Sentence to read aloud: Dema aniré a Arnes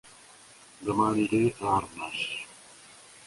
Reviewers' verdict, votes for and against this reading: rejected, 0, 2